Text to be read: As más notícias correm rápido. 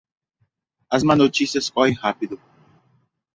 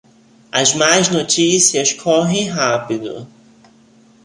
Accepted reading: second